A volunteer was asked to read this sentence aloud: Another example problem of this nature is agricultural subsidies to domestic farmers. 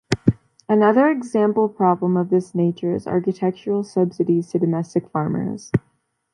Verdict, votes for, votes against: accepted, 2, 0